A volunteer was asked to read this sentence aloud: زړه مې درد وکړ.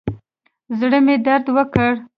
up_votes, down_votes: 2, 0